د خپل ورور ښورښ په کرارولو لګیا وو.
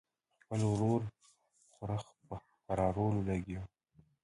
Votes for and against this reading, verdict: 0, 2, rejected